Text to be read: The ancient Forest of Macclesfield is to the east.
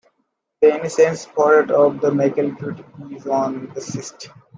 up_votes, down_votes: 0, 2